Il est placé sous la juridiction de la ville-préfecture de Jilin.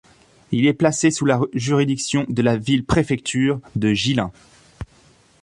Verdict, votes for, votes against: rejected, 1, 2